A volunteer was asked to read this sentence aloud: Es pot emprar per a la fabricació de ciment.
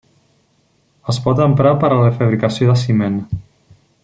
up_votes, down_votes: 3, 0